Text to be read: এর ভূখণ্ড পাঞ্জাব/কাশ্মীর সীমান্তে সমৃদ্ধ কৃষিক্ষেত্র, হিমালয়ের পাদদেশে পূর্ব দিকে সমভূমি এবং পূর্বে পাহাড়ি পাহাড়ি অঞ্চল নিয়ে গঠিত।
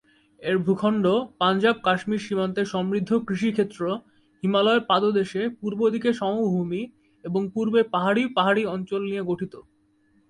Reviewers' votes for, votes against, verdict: 3, 1, accepted